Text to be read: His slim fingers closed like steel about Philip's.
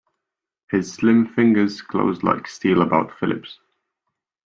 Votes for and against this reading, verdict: 2, 0, accepted